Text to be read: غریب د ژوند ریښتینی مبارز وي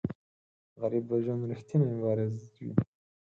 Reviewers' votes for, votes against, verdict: 4, 0, accepted